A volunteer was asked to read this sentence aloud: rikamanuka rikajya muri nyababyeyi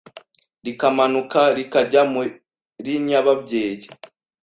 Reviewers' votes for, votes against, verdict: 2, 0, accepted